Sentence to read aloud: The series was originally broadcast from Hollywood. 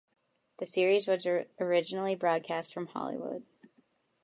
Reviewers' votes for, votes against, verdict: 1, 2, rejected